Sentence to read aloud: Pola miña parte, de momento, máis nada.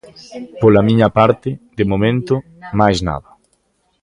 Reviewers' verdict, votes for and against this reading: accepted, 2, 0